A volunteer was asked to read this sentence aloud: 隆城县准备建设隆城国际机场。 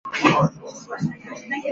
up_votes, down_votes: 1, 2